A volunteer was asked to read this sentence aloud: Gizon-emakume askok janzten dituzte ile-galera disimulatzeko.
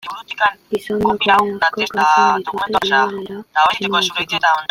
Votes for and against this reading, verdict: 0, 2, rejected